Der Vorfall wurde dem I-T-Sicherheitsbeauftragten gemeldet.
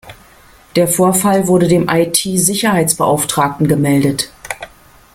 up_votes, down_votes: 2, 1